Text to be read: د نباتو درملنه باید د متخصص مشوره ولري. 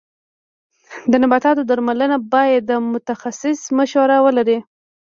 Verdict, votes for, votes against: rejected, 0, 2